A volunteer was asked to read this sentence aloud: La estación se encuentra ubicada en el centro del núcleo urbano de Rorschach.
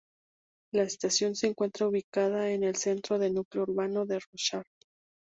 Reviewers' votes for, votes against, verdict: 2, 0, accepted